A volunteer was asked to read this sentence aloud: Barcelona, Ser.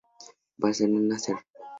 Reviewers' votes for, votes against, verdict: 2, 0, accepted